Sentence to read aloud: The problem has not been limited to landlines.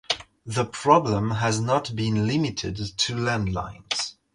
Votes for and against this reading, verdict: 2, 0, accepted